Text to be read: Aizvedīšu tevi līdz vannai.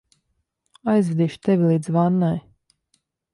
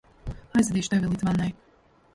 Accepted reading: first